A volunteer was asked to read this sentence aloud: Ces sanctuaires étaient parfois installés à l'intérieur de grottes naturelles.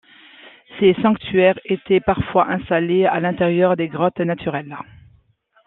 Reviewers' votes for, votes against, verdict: 2, 0, accepted